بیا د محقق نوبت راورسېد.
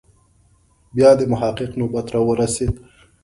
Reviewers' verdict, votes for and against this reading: accepted, 2, 0